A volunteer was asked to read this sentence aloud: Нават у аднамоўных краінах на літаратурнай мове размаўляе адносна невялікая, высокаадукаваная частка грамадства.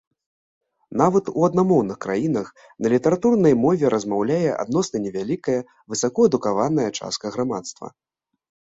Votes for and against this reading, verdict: 1, 2, rejected